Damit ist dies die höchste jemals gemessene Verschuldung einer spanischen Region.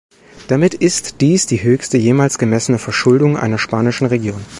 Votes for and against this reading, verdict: 3, 0, accepted